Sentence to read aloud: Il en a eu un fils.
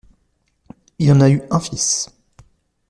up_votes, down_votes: 2, 0